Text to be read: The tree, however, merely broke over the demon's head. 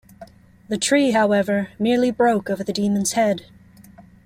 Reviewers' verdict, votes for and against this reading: accepted, 2, 0